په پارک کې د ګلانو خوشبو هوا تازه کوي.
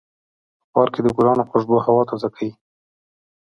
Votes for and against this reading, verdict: 0, 2, rejected